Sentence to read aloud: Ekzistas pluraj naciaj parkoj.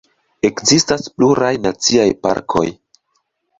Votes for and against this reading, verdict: 2, 0, accepted